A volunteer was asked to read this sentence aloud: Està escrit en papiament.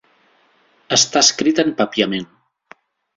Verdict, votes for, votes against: accepted, 3, 0